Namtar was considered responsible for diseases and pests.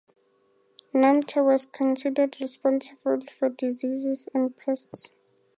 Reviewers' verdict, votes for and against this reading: accepted, 4, 0